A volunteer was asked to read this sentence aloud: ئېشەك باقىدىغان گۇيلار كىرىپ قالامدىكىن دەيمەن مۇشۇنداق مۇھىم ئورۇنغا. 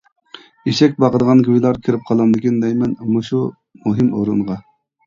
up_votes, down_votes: 0, 2